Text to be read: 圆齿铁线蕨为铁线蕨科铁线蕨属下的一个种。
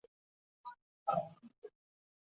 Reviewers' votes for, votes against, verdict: 0, 3, rejected